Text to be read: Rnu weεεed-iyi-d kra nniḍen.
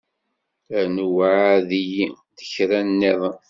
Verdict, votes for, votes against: rejected, 1, 2